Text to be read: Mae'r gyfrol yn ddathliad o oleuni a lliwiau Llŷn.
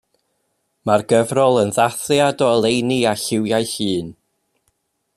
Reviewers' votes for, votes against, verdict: 2, 0, accepted